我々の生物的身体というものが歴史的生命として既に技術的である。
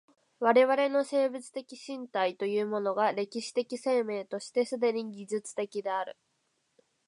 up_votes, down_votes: 4, 0